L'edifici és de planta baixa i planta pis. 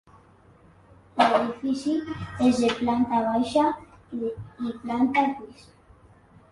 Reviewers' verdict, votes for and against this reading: rejected, 1, 2